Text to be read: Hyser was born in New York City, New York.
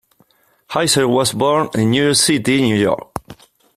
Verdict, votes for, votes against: rejected, 0, 2